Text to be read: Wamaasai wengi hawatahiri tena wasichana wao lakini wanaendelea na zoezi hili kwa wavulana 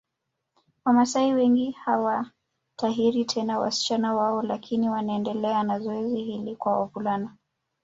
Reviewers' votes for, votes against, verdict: 2, 1, accepted